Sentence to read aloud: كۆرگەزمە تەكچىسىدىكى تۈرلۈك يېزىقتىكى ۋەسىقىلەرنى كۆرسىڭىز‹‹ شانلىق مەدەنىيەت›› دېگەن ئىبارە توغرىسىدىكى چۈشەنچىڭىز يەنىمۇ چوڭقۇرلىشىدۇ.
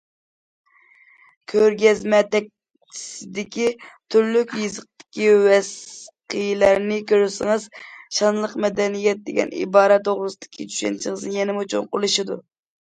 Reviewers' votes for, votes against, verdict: 0, 2, rejected